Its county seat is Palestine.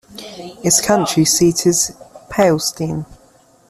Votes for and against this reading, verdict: 1, 2, rejected